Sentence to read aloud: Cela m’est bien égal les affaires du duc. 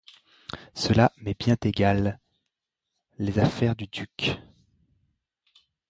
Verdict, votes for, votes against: rejected, 1, 2